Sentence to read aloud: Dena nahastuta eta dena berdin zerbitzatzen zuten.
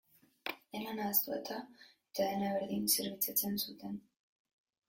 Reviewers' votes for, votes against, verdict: 0, 2, rejected